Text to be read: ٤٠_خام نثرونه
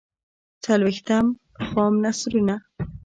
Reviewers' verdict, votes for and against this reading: rejected, 0, 2